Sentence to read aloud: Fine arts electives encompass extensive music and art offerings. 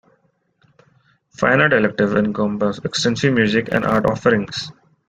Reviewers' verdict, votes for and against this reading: rejected, 1, 2